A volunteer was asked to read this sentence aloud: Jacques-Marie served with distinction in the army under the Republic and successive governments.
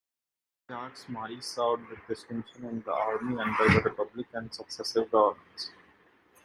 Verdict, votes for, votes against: rejected, 0, 2